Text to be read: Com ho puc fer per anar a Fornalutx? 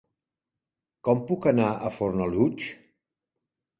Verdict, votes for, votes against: rejected, 0, 2